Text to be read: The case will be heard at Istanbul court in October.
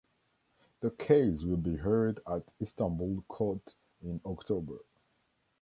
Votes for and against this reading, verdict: 2, 0, accepted